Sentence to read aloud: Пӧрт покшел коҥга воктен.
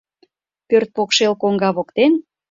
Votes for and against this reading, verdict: 2, 0, accepted